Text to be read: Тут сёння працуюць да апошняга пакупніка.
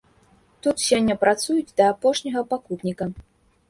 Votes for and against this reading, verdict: 0, 2, rejected